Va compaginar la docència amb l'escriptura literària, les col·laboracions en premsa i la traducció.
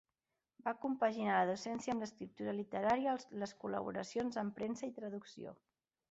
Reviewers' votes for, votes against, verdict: 3, 4, rejected